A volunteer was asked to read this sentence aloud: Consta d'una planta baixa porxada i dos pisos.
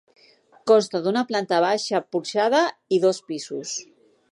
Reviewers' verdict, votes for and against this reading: accepted, 2, 0